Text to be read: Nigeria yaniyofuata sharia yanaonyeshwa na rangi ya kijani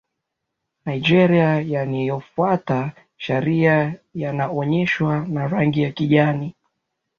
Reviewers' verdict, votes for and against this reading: accepted, 2, 0